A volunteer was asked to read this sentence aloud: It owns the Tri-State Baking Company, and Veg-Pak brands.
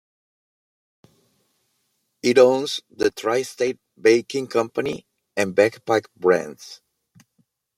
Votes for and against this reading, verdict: 1, 2, rejected